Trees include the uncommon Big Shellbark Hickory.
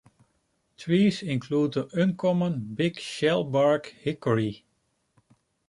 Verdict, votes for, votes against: accepted, 2, 0